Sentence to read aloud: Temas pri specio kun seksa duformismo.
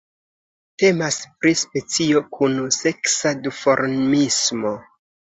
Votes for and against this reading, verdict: 2, 1, accepted